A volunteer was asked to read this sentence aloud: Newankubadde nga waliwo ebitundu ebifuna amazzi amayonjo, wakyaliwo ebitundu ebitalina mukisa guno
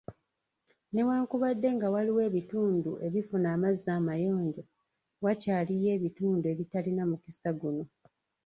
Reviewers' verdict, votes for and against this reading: rejected, 1, 2